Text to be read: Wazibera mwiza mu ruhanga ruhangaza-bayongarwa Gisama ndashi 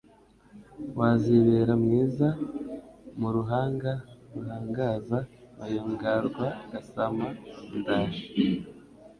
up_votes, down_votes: 1, 2